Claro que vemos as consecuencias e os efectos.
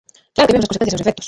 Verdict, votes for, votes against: rejected, 0, 2